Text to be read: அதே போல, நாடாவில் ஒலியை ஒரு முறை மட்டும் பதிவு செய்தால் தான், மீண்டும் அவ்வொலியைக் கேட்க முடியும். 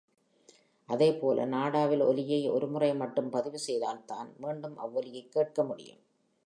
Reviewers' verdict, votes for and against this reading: accepted, 3, 0